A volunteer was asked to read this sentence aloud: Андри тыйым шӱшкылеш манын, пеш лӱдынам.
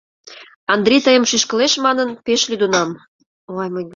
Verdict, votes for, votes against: rejected, 1, 2